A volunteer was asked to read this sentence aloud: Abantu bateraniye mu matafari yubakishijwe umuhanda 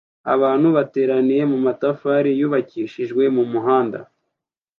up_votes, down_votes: 0, 2